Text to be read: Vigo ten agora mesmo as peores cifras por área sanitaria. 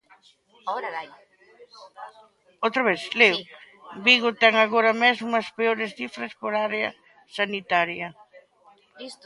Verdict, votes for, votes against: rejected, 0, 2